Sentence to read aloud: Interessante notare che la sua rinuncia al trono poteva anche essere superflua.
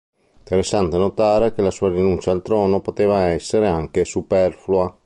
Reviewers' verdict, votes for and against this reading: rejected, 1, 3